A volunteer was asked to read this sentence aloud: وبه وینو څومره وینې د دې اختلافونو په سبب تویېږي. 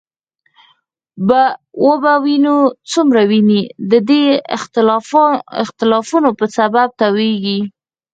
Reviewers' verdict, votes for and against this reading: rejected, 2, 4